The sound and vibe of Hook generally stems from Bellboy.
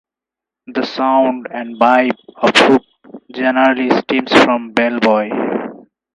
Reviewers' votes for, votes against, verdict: 4, 0, accepted